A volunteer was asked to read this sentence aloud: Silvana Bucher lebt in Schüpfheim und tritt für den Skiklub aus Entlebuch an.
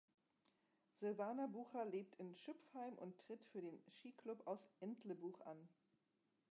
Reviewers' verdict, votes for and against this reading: rejected, 1, 2